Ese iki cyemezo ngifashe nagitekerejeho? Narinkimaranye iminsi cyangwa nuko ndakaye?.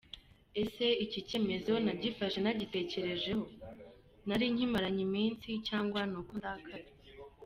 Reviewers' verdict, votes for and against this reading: rejected, 2, 3